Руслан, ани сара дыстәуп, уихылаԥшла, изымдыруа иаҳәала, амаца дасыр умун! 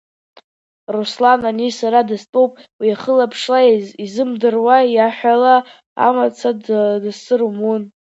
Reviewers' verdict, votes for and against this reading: rejected, 0, 2